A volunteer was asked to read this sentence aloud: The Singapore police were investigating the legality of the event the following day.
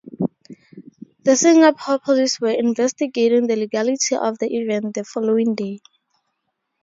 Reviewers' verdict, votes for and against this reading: rejected, 2, 2